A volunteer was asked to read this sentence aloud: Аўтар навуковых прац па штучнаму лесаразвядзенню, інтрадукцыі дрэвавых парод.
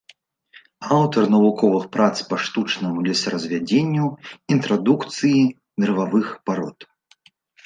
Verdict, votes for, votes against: accepted, 2, 0